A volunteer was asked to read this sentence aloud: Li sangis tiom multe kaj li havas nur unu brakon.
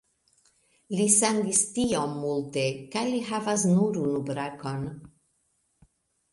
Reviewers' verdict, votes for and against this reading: accepted, 2, 0